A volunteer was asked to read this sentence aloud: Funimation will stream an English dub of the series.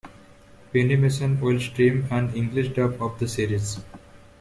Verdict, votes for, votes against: accepted, 2, 1